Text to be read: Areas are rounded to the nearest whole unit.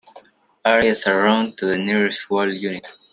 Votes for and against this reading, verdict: 2, 1, accepted